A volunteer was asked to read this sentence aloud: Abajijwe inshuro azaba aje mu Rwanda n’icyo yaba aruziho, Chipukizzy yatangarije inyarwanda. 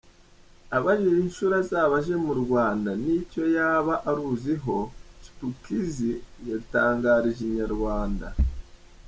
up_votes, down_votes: 2, 0